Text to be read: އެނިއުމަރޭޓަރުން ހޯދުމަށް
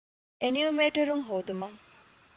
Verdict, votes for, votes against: rejected, 1, 2